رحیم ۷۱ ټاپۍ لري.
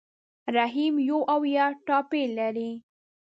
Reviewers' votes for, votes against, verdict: 0, 2, rejected